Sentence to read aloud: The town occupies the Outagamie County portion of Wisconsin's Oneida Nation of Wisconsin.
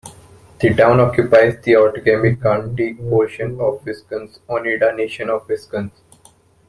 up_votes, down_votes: 2, 3